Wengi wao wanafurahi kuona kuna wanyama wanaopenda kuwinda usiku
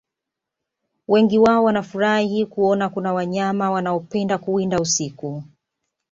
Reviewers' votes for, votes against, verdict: 2, 0, accepted